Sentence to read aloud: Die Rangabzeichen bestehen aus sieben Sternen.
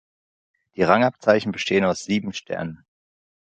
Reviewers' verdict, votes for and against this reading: accepted, 2, 0